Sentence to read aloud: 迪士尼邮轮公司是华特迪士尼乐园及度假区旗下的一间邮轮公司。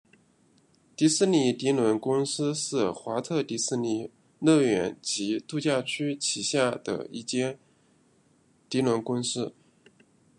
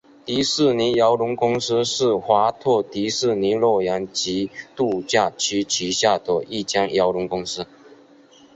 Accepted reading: second